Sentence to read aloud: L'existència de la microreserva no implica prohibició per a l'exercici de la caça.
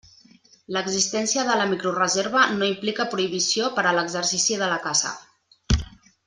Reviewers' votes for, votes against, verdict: 3, 0, accepted